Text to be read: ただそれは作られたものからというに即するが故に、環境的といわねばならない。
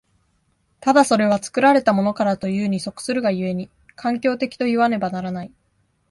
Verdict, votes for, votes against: accepted, 2, 0